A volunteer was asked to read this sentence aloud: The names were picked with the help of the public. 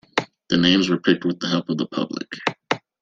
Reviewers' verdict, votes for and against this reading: accepted, 2, 0